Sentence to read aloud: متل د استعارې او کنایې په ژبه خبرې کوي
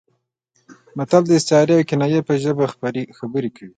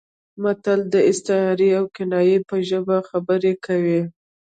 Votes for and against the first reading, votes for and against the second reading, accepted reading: 2, 0, 1, 2, first